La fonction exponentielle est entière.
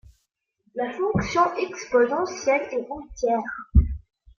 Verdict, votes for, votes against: rejected, 0, 3